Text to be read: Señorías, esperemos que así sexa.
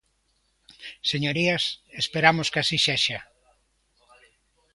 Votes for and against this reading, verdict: 0, 2, rejected